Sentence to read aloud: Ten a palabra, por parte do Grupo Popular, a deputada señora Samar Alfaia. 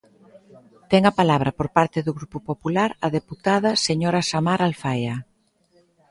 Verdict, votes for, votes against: accepted, 2, 1